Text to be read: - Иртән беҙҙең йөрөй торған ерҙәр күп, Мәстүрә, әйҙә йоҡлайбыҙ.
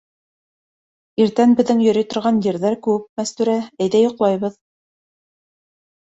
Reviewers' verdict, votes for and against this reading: accepted, 2, 0